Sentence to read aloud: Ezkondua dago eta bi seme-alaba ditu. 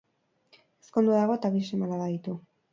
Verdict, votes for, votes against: rejected, 0, 4